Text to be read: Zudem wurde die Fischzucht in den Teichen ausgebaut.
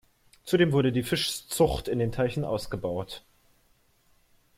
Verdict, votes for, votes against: rejected, 1, 2